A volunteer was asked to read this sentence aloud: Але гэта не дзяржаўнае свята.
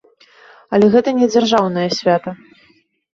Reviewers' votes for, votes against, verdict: 2, 0, accepted